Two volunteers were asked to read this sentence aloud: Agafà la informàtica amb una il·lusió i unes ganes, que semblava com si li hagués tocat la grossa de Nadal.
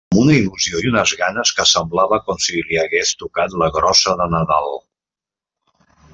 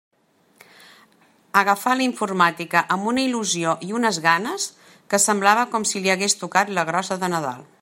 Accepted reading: second